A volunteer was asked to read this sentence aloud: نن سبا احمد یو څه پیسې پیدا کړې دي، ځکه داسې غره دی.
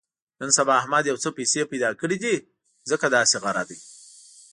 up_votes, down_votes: 2, 0